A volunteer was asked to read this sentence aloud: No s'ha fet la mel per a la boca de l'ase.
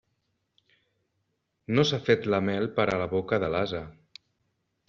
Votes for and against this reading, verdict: 2, 0, accepted